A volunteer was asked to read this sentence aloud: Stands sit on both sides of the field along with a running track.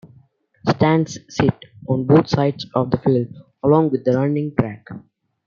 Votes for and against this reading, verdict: 2, 0, accepted